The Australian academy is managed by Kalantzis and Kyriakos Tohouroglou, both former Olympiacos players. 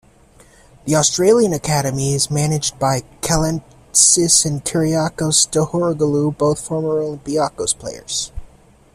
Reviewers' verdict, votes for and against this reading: accepted, 2, 0